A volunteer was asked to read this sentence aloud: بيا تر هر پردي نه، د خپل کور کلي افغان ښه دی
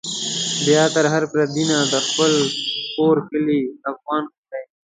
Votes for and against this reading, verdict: 1, 2, rejected